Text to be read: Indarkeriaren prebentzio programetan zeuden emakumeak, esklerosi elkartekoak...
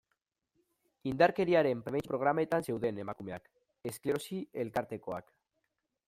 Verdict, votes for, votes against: accepted, 2, 0